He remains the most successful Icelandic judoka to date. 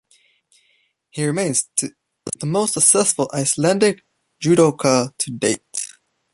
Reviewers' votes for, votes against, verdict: 1, 2, rejected